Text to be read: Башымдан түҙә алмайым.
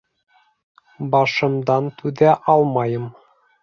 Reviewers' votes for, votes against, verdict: 2, 0, accepted